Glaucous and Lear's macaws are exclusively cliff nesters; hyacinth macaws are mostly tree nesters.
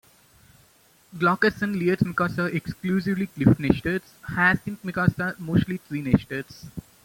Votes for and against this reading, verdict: 0, 2, rejected